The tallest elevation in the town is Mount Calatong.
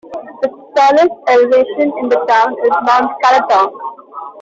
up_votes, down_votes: 0, 2